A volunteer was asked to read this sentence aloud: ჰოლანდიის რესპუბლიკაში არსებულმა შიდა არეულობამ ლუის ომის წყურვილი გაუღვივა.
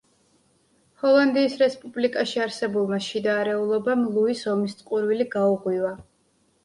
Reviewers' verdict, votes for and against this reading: accepted, 2, 0